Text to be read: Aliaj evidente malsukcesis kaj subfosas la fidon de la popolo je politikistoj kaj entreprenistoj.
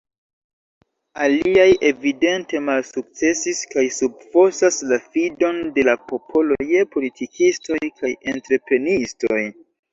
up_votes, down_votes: 2, 0